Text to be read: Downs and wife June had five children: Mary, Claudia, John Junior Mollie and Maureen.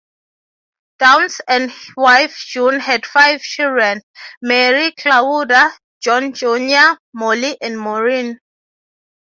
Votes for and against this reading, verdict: 0, 3, rejected